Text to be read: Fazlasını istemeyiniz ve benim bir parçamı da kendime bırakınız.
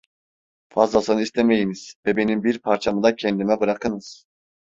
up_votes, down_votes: 2, 0